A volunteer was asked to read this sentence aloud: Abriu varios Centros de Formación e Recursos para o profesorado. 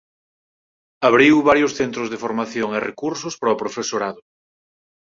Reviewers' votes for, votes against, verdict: 4, 0, accepted